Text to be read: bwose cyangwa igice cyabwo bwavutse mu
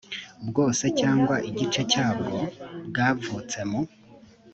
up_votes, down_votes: 5, 0